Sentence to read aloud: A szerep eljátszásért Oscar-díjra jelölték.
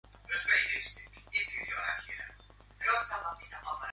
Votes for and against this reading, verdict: 0, 2, rejected